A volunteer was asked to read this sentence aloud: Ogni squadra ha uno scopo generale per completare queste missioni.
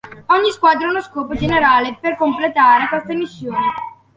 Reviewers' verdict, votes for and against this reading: accepted, 2, 1